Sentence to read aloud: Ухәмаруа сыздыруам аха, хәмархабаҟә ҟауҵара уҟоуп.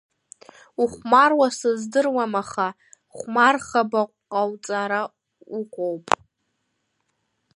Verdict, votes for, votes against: rejected, 2, 3